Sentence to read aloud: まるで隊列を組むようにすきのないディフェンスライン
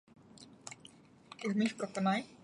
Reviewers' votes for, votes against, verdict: 1, 2, rejected